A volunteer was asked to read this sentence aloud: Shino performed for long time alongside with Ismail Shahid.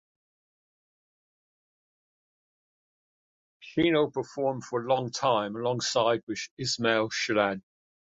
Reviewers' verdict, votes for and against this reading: rejected, 0, 2